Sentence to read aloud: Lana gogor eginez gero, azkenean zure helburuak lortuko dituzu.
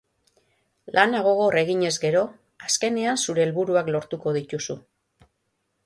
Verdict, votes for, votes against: rejected, 3, 3